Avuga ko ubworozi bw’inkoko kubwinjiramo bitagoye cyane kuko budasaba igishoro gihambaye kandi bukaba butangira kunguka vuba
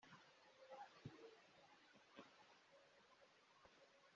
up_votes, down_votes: 0, 2